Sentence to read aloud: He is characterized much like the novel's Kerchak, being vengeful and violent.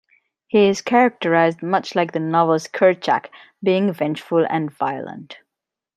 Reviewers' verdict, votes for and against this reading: accepted, 2, 0